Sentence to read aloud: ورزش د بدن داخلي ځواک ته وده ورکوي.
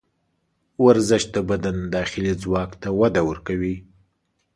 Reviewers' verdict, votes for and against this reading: accepted, 2, 0